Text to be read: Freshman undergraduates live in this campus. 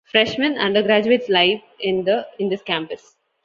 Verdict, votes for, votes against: rejected, 1, 2